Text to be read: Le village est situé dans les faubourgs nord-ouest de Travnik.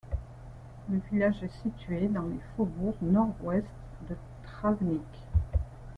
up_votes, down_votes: 1, 2